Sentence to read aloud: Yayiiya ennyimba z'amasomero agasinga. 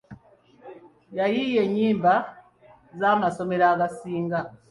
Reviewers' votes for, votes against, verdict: 2, 0, accepted